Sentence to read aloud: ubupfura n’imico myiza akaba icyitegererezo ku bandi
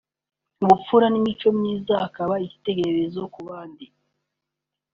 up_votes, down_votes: 3, 0